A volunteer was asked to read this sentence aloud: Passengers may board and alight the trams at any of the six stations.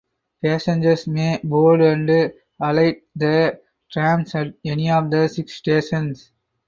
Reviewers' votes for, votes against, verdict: 4, 0, accepted